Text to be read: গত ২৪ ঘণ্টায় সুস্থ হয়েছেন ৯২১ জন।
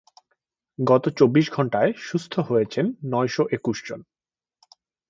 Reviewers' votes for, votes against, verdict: 0, 2, rejected